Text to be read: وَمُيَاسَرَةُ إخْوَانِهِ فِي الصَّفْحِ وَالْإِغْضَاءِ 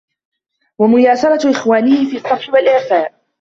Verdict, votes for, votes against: rejected, 0, 2